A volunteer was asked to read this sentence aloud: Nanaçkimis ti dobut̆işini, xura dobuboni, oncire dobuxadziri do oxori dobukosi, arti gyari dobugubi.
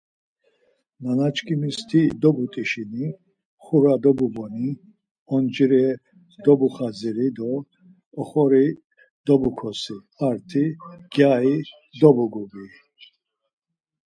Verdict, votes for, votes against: accepted, 4, 0